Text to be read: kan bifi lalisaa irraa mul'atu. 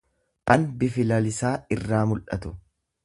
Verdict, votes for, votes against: rejected, 1, 2